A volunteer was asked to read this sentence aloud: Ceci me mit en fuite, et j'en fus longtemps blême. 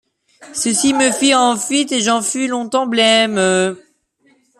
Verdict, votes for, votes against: rejected, 1, 2